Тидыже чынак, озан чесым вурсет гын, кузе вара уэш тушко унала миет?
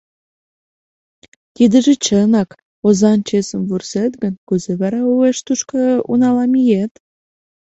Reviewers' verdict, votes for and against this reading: accepted, 2, 0